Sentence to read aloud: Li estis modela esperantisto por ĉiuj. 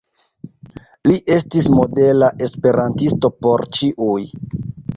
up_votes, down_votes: 2, 0